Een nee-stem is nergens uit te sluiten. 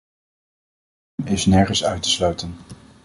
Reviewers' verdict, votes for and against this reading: rejected, 0, 2